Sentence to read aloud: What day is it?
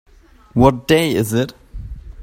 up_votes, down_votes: 2, 0